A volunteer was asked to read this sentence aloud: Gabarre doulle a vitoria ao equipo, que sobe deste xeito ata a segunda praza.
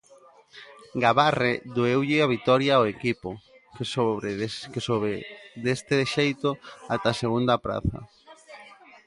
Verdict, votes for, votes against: rejected, 0, 2